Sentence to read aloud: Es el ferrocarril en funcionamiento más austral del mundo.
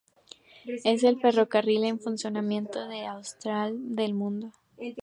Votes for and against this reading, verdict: 0, 2, rejected